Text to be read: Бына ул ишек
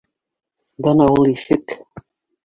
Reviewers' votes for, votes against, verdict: 1, 2, rejected